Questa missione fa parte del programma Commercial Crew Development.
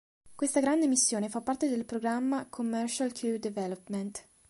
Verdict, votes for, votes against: rejected, 1, 2